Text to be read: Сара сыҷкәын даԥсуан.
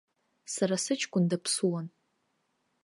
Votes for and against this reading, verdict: 2, 0, accepted